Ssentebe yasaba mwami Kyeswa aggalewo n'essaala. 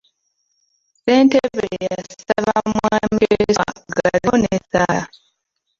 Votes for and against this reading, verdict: 0, 2, rejected